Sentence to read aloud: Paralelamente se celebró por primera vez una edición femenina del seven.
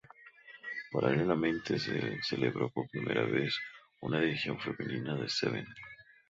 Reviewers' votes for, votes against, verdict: 0, 2, rejected